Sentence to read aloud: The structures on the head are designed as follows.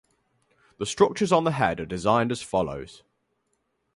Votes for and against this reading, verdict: 4, 0, accepted